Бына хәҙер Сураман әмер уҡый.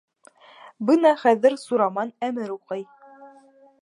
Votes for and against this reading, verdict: 1, 2, rejected